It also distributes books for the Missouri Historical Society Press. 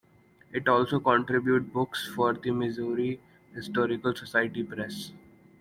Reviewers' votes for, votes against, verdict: 1, 2, rejected